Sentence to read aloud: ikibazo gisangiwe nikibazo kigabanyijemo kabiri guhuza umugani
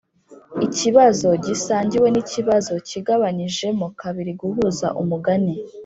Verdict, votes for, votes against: accepted, 3, 0